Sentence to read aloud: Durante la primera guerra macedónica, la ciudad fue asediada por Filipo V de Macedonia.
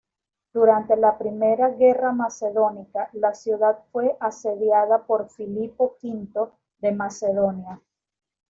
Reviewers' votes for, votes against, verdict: 0, 2, rejected